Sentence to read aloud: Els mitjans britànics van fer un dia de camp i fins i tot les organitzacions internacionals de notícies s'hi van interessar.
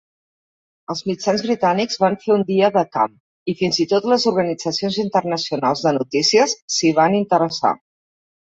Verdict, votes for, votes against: accepted, 4, 0